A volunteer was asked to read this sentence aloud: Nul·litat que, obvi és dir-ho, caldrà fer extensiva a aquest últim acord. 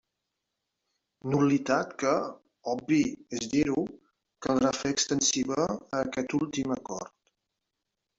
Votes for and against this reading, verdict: 1, 2, rejected